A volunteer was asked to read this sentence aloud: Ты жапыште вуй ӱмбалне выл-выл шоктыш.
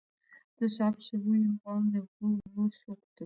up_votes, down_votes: 0, 2